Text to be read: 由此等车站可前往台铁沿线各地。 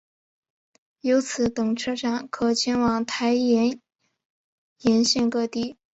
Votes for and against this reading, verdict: 6, 2, accepted